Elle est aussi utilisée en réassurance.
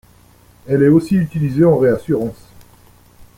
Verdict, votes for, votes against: accepted, 2, 0